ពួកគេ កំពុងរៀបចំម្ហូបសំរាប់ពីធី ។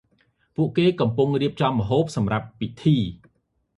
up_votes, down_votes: 2, 0